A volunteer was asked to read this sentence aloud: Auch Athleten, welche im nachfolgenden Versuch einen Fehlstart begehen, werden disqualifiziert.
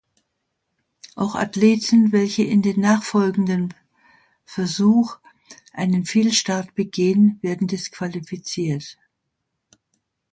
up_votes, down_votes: 0, 2